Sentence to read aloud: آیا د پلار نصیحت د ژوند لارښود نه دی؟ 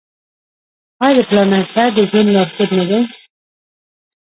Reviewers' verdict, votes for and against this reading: rejected, 1, 2